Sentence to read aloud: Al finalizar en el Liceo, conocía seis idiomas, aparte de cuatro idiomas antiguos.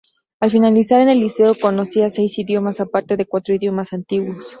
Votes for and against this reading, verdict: 0, 2, rejected